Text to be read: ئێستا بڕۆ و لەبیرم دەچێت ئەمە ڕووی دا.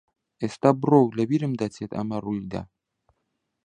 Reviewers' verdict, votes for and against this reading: rejected, 1, 2